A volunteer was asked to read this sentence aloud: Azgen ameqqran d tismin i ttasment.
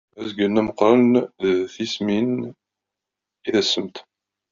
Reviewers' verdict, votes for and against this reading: rejected, 0, 2